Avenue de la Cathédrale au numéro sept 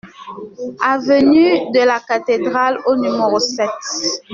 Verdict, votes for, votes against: accepted, 2, 0